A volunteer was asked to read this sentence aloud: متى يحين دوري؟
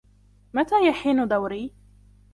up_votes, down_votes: 0, 2